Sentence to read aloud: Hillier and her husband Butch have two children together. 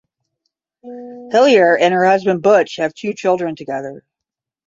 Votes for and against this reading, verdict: 5, 10, rejected